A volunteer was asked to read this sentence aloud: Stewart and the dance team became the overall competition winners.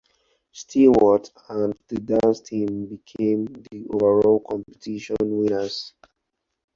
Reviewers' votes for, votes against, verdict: 2, 4, rejected